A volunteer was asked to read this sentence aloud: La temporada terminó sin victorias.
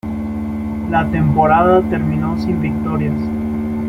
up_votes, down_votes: 0, 2